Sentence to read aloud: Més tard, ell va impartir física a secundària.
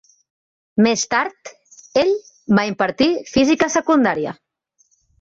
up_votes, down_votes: 3, 0